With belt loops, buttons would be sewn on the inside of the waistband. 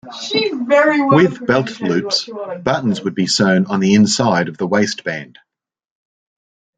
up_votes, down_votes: 2, 0